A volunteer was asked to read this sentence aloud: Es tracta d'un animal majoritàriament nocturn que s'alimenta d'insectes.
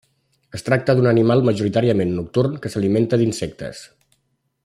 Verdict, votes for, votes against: accepted, 3, 0